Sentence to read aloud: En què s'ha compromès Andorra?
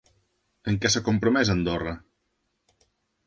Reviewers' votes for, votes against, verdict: 3, 0, accepted